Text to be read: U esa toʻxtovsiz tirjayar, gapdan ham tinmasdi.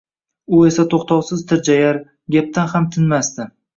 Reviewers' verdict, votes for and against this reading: accepted, 2, 0